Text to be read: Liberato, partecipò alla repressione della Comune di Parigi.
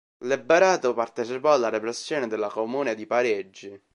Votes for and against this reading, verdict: 0, 2, rejected